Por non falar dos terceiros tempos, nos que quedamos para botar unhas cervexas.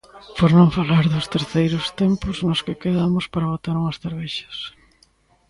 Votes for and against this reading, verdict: 0, 2, rejected